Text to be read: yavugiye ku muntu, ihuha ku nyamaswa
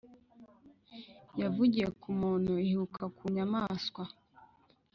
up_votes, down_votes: 0, 2